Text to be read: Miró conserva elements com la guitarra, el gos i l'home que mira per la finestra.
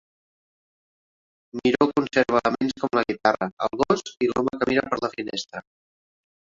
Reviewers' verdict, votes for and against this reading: rejected, 0, 2